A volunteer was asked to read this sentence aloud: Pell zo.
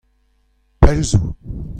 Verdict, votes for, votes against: accepted, 2, 0